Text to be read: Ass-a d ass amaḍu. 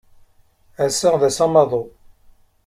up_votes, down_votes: 2, 0